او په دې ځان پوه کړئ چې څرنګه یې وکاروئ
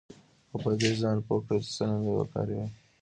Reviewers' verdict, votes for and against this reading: accepted, 2, 1